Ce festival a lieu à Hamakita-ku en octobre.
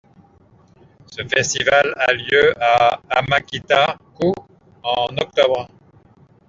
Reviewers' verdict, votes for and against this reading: accepted, 2, 1